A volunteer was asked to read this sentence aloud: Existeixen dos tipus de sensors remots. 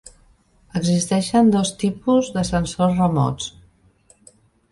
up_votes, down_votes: 4, 0